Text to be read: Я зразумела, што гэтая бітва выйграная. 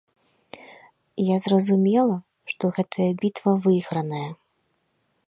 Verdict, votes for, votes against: accepted, 2, 0